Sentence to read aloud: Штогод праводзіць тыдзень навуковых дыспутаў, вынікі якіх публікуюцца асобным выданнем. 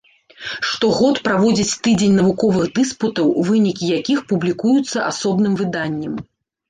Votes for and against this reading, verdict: 1, 2, rejected